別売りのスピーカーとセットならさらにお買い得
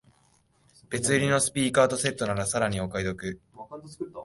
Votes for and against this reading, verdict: 3, 2, accepted